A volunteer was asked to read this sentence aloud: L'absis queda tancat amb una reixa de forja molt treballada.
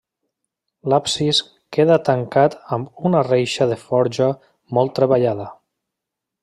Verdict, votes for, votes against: accepted, 3, 0